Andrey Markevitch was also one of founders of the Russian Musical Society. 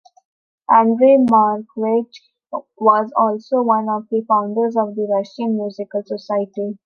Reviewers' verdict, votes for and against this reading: rejected, 3, 4